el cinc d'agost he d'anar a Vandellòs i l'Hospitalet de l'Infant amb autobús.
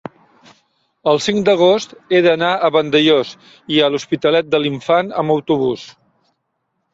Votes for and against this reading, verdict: 0, 2, rejected